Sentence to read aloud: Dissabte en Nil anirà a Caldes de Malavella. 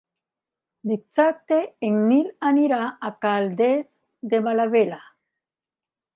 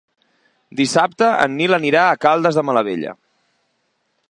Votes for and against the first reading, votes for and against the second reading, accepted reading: 0, 2, 3, 0, second